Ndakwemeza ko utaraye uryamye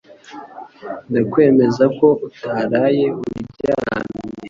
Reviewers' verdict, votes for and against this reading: rejected, 0, 2